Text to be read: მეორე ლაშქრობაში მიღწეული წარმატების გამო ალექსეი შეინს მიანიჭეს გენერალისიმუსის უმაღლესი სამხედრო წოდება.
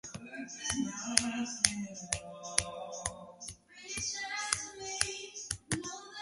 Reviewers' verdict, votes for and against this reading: rejected, 0, 2